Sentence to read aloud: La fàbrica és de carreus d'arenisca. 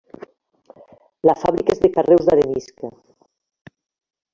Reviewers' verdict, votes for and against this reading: rejected, 1, 2